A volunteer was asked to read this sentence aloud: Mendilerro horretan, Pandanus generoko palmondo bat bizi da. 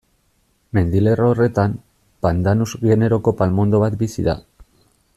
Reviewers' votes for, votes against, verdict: 2, 0, accepted